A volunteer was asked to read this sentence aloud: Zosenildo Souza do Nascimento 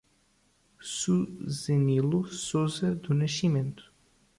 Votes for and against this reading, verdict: 0, 2, rejected